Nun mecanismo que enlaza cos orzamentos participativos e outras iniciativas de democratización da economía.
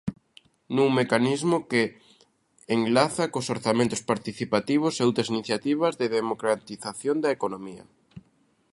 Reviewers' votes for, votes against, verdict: 2, 0, accepted